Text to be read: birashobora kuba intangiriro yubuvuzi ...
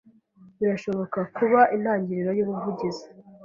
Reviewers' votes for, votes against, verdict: 1, 2, rejected